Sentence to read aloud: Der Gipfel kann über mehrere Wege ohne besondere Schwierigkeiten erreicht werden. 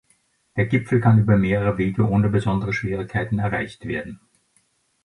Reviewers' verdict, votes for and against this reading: accepted, 2, 0